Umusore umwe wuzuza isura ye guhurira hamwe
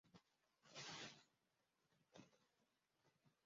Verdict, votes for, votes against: rejected, 0, 2